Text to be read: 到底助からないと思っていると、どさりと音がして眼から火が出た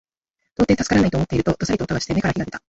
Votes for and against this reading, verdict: 0, 2, rejected